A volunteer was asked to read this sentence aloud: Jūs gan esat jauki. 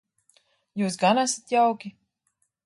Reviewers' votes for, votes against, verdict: 2, 0, accepted